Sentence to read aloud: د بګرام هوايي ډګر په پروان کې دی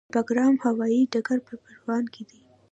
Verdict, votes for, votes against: accepted, 2, 0